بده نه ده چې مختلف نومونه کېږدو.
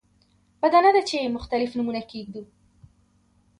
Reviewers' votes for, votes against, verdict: 2, 0, accepted